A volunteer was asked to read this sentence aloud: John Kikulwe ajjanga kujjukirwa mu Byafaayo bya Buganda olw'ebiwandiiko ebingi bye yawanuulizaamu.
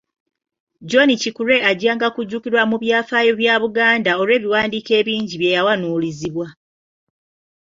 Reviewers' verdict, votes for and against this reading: rejected, 1, 2